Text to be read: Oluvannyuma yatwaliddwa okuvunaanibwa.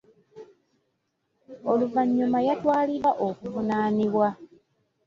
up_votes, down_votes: 2, 0